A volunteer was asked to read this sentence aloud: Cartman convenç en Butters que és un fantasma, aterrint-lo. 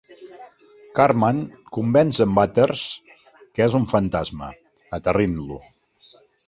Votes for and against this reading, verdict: 2, 0, accepted